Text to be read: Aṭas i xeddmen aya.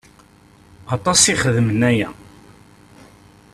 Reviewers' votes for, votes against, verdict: 1, 2, rejected